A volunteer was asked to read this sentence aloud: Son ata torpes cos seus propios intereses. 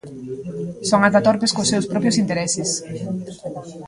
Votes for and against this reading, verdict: 1, 2, rejected